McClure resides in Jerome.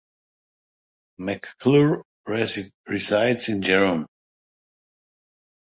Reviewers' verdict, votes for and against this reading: rejected, 0, 2